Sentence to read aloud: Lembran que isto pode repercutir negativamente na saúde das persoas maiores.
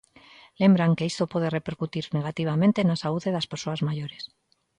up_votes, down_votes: 1, 2